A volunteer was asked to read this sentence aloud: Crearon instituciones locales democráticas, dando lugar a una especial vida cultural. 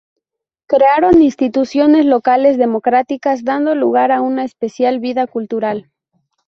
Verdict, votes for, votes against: accepted, 2, 0